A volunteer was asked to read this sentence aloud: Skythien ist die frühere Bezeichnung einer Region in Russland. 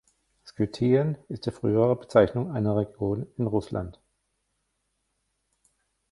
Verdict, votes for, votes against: rejected, 1, 2